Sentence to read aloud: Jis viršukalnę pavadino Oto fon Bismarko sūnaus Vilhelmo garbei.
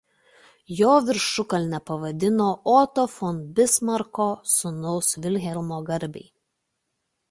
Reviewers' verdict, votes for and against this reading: rejected, 0, 2